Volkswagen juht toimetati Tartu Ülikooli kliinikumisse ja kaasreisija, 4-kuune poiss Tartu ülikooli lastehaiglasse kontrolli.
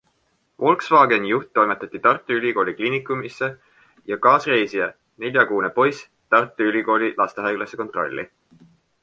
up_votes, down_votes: 0, 2